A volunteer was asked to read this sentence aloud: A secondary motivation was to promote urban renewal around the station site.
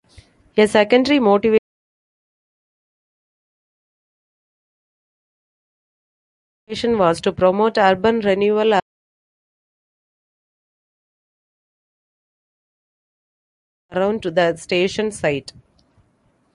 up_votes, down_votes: 0, 2